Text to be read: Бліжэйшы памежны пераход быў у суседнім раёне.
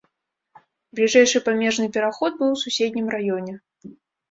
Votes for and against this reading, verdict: 2, 0, accepted